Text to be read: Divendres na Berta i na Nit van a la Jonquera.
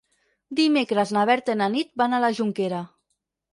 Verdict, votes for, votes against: rejected, 0, 4